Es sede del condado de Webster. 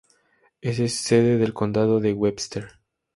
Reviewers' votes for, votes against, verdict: 0, 2, rejected